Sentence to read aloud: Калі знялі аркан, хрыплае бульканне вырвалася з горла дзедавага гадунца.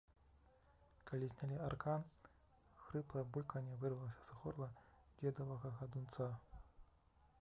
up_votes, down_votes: 1, 2